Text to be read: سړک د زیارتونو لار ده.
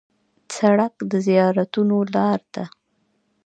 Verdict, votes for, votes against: accepted, 3, 1